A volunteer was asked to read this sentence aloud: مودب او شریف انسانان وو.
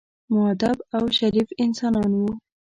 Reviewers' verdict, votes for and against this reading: accepted, 2, 0